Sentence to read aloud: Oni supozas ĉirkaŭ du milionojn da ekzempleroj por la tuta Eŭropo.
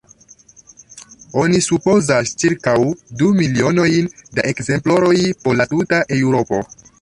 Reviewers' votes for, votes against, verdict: 1, 2, rejected